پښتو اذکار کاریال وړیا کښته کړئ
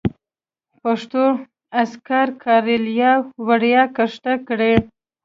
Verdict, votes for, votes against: rejected, 1, 2